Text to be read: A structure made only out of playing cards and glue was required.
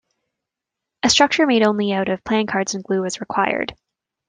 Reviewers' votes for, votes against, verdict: 2, 0, accepted